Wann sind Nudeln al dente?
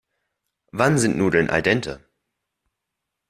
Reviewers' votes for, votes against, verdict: 2, 0, accepted